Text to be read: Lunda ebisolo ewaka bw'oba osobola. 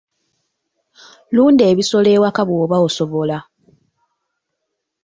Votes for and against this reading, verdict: 2, 0, accepted